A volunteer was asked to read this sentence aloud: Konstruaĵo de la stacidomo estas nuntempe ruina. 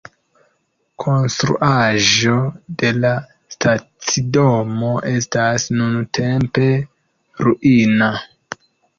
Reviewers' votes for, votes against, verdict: 1, 2, rejected